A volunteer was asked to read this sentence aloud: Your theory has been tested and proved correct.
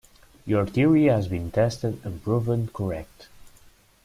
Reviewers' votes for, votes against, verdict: 0, 2, rejected